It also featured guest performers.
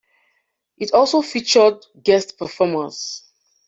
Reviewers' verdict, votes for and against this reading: accepted, 2, 0